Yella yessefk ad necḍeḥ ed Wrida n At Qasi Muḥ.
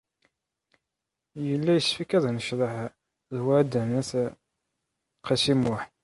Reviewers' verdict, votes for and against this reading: accepted, 2, 1